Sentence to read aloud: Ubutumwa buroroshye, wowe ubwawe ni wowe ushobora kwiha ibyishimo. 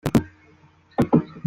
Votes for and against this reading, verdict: 0, 2, rejected